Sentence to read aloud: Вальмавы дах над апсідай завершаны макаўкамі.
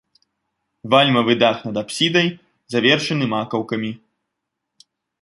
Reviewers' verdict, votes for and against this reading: accepted, 2, 0